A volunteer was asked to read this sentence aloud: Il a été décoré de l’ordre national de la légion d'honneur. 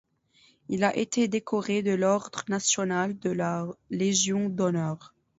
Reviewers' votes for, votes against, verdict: 2, 1, accepted